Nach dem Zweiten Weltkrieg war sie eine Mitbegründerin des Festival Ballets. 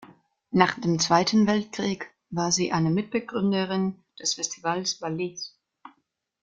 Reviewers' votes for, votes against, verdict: 1, 2, rejected